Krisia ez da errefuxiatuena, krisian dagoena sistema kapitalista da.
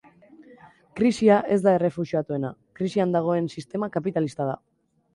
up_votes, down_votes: 1, 2